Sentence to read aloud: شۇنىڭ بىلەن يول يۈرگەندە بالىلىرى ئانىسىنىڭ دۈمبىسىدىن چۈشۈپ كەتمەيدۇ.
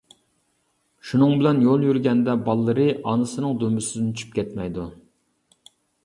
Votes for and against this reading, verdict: 2, 0, accepted